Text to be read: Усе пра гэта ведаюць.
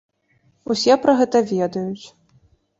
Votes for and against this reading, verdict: 2, 0, accepted